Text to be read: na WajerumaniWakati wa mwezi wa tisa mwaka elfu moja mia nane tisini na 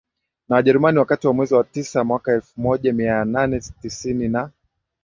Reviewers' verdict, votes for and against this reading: rejected, 0, 2